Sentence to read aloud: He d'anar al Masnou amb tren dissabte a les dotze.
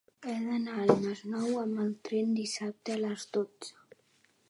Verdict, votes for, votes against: rejected, 0, 2